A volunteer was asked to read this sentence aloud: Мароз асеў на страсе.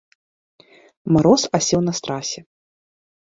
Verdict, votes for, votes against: rejected, 2, 3